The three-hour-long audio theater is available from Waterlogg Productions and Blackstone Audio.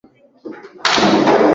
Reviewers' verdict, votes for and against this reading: rejected, 0, 2